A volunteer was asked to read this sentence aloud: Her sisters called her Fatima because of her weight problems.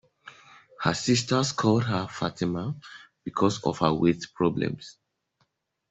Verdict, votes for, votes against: accepted, 2, 0